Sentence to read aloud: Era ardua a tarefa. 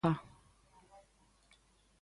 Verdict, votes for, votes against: rejected, 0, 2